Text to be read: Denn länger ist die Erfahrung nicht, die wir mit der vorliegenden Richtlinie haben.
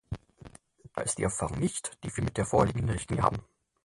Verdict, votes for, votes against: rejected, 0, 4